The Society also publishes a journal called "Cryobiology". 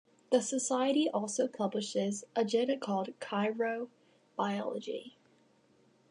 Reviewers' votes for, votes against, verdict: 2, 0, accepted